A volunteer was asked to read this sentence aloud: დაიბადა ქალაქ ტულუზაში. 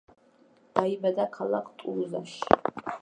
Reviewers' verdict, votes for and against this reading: rejected, 0, 2